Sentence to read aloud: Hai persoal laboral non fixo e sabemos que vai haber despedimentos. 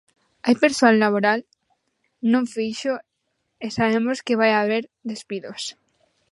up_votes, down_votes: 0, 2